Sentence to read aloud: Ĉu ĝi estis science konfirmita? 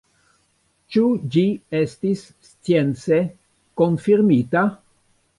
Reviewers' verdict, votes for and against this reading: accepted, 2, 1